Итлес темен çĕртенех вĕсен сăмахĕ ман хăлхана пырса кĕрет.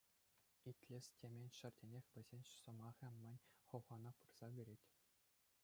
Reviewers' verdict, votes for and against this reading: rejected, 1, 2